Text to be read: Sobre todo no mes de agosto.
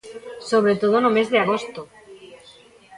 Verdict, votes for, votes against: rejected, 0, 2